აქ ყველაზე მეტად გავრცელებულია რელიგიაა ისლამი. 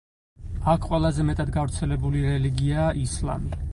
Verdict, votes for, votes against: rejected, 2, 4